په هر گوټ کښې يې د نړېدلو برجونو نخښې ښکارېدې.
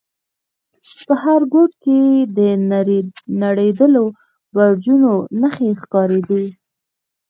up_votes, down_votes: 0, 2